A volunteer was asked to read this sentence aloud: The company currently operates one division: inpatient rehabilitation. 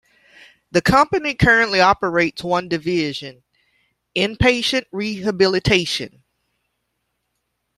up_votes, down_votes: 2, 0